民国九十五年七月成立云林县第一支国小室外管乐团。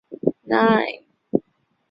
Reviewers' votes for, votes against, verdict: 0, 3, rejected